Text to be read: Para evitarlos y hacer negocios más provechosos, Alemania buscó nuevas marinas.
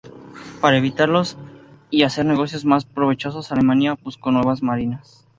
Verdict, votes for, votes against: accepted, 2, 0